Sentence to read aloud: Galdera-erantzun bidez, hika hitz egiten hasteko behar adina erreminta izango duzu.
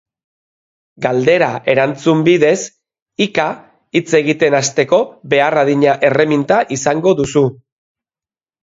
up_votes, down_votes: 2, 0